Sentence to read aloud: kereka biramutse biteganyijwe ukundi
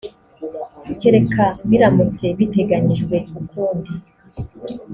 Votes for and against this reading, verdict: 4, 0, accepted